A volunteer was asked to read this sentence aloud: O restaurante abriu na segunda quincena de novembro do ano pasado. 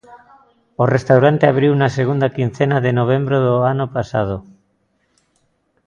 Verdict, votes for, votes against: accepted, 2, 0